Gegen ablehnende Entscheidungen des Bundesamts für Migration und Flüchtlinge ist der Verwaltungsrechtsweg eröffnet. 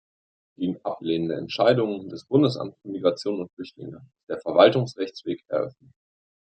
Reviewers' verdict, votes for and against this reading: rejected, 1, 2